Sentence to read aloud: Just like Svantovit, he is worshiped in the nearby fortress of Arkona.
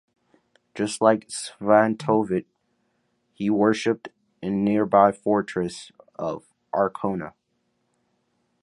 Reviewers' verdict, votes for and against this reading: rejected, 0, 2